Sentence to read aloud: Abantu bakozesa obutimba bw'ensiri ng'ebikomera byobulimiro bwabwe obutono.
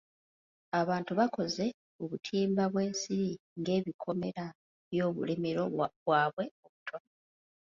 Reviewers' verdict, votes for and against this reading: rejected, 0, 2